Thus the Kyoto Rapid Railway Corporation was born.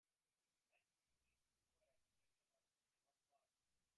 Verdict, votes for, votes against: rejected, 0, 3